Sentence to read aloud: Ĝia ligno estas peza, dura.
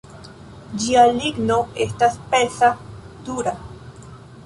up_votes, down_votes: 1, 2